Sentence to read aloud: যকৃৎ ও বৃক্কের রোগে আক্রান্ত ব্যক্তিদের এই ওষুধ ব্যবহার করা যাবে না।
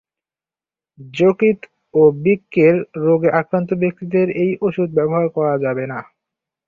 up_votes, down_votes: 0, 2